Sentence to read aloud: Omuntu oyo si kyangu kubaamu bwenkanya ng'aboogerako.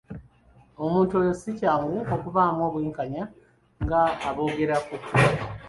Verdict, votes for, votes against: rejected, 1, 2